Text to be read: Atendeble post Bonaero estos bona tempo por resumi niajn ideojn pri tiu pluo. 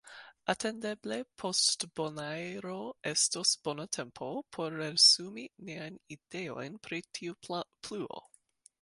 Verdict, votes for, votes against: accepted, 2, 0